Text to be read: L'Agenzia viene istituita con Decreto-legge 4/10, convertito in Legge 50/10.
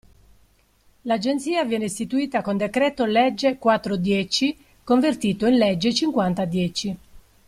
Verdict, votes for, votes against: rejected, 0, 2